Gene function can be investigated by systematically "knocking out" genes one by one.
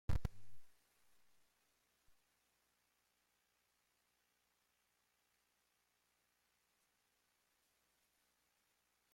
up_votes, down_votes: 0, 2